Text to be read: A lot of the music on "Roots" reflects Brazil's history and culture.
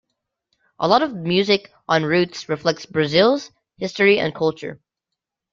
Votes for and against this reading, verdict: 2, 0, accepted